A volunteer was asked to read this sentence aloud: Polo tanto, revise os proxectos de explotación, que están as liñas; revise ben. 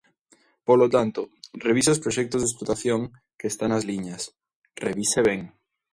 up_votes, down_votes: 2, 0